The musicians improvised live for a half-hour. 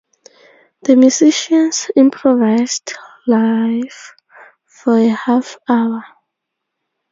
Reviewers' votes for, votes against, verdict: 4, 2, accepted